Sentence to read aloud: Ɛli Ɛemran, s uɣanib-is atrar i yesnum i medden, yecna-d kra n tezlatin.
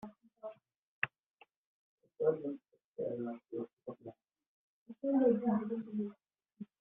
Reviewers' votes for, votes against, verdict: 0, 2, rejected